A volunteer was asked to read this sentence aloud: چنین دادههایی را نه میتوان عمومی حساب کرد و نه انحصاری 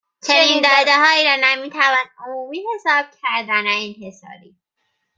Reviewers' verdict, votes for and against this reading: rejected, 1, 2